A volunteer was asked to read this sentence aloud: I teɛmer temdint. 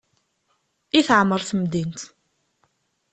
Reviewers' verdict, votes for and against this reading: accepted, 2, 0